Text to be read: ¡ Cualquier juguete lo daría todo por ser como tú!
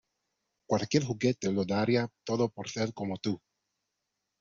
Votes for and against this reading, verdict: 0, 2, rejected